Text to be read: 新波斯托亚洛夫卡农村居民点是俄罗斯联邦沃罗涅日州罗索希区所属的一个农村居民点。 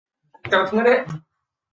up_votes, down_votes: 0, 2